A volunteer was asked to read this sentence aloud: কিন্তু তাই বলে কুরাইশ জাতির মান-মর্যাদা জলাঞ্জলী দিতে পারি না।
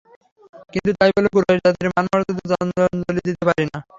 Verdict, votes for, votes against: rejected, 0, 3